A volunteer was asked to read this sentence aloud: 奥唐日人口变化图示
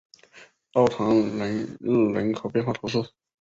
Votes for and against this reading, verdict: 1, 2, rejected